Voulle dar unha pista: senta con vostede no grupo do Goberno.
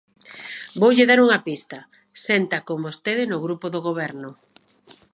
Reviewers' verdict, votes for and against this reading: accepted, 2, 0